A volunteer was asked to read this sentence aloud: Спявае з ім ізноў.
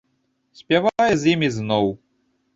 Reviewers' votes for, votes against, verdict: 1, 2, rejected